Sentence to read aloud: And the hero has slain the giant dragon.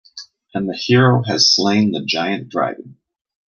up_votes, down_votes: 2, 0